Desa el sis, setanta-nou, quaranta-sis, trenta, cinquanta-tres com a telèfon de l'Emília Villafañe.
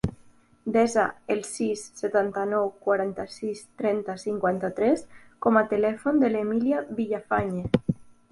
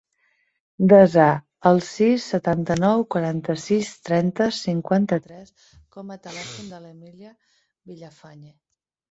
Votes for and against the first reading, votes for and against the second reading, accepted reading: 2, 0, 1, 2, first